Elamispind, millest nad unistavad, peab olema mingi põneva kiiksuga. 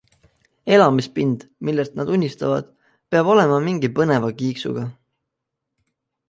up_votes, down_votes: 2, 0